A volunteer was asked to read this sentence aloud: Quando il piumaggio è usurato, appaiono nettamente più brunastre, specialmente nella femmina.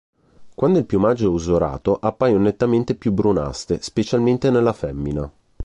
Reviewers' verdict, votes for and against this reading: accepted, 3, 0